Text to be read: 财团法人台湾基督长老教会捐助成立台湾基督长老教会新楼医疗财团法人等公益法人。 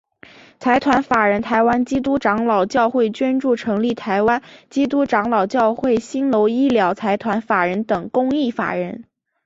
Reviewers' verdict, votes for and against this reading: accepted, 2, 0